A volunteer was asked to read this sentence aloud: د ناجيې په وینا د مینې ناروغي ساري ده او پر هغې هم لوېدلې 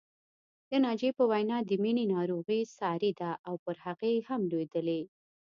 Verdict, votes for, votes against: accepted, 2, 0